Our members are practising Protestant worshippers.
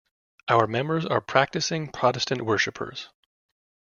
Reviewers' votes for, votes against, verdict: 2, 0, accepted